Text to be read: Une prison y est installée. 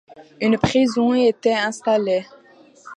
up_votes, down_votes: 0, 2